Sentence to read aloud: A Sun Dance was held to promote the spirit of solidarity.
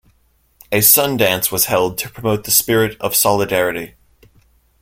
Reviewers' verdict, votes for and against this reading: accepted, 2, 0